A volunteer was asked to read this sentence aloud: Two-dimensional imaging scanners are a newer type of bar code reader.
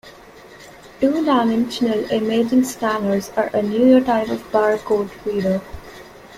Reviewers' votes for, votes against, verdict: 2, 0, accepted